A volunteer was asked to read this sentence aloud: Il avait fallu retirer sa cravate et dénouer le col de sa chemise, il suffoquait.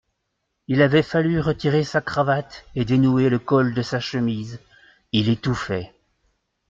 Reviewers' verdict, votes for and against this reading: rejected, 0, 2